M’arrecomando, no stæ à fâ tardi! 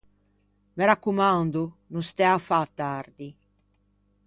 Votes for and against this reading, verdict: 0, 2, rejected